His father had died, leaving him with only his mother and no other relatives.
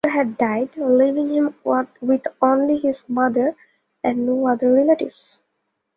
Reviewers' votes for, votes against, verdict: 0, 2, rejected